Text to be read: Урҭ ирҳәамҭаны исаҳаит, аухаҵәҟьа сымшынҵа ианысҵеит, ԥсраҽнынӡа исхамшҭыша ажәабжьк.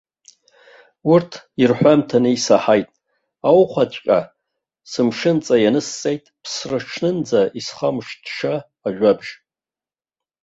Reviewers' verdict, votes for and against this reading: rejected, 0, 2